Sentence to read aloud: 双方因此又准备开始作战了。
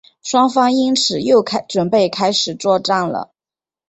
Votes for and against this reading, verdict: 1, 2, rejected